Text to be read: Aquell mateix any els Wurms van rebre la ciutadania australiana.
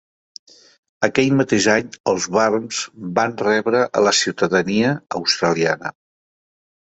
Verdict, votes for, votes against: accepted, 3, 1